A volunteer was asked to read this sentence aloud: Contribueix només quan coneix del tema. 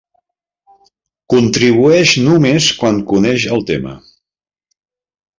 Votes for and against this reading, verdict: 1, 2, rejected